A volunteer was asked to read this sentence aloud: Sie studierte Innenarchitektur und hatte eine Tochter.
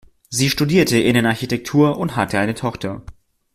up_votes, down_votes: 2, 0